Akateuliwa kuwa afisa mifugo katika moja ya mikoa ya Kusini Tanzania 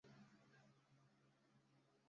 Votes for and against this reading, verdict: 0, 3, rejected